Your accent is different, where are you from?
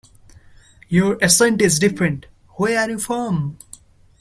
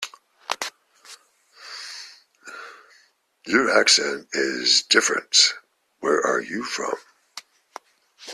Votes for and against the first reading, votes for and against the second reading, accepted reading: 1, 2, 2, 0, second